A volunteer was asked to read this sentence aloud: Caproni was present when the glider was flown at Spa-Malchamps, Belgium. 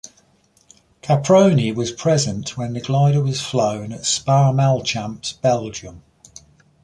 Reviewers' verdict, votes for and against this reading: accepted, 2, 0